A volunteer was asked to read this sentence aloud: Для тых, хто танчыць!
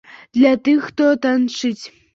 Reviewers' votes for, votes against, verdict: 2, 0, accepted